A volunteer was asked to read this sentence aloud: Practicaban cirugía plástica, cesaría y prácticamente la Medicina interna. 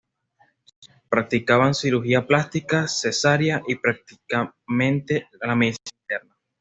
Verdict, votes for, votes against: rejected, 1, 2